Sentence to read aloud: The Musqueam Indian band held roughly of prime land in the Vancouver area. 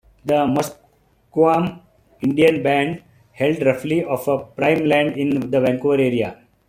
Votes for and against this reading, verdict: 0, 2, rejected